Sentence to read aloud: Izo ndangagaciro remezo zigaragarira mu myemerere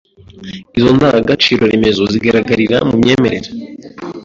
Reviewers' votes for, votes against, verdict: 2, 0, accepted